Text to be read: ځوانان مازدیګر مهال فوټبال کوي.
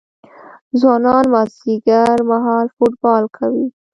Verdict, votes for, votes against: accepted, 2, 1